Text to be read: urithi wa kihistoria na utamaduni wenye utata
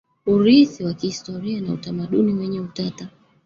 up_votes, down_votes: 0, 2